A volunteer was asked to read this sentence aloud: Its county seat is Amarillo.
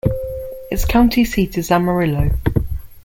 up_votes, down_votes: 2, 0